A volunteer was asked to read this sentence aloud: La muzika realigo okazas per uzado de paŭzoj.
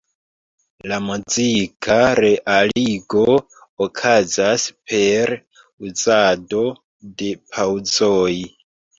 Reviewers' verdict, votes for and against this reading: rejected, 0, 2